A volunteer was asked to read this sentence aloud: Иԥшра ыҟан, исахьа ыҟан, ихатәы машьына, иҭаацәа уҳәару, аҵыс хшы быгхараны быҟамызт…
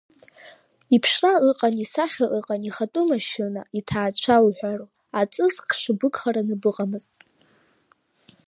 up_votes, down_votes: 0, 2